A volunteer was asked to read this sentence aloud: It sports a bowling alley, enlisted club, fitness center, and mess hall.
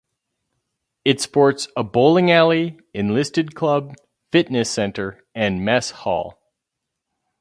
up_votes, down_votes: 2, 0